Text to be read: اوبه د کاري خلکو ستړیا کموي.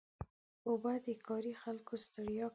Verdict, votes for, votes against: rejected, 0, 2